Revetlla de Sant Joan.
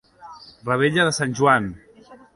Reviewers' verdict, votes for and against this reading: accepted, 2, 0